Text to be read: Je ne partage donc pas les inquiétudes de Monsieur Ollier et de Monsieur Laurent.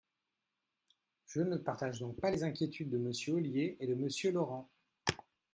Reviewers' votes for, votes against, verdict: 4, 0, accepted